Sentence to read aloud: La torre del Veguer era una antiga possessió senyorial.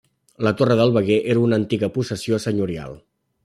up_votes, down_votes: 3, 0